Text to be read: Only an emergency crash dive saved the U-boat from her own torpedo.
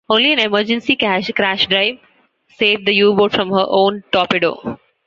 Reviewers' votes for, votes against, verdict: 1, 2, rejected